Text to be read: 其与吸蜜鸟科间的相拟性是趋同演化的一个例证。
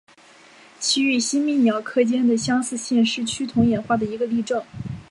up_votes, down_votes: 2, 0